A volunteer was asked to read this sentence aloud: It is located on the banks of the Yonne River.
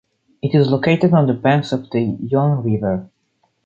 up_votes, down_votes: 0, 2